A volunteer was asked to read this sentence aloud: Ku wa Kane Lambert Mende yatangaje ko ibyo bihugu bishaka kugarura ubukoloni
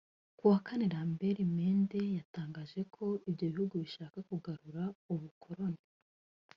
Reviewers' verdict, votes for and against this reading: accepted, 2, 1